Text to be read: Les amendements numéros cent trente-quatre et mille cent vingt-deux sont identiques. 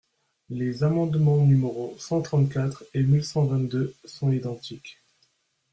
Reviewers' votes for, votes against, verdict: 0, 2, rejected